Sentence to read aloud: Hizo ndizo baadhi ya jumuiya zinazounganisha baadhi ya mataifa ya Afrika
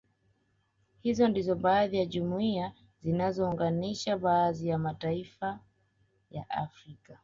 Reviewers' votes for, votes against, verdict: 3, 0, accepted